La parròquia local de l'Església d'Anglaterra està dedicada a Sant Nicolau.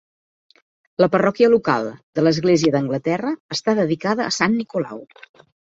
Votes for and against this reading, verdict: 2, 0, accepted